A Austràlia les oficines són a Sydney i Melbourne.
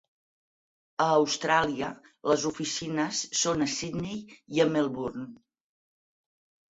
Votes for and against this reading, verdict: 2, 4, rejected